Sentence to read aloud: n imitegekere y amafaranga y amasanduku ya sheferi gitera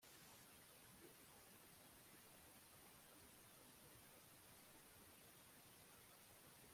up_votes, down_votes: 1, 2